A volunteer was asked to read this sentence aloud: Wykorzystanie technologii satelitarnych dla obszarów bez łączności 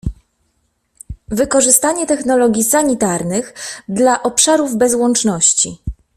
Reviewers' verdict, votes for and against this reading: rejected, 1, 2